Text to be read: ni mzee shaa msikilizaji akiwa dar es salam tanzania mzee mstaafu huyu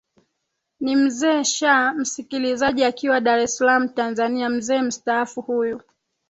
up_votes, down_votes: 2, 1